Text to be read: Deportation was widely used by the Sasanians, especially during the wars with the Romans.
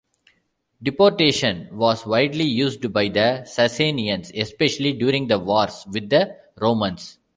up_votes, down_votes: 2, 1